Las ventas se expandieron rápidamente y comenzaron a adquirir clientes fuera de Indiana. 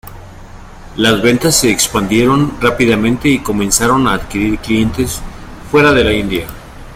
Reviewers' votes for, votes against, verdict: 0, 2, rejected